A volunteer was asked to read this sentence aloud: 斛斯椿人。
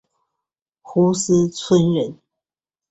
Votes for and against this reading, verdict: 6, 0, accepted